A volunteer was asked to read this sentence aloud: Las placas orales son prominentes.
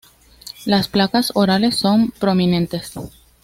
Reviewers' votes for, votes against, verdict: 2, 0, accepted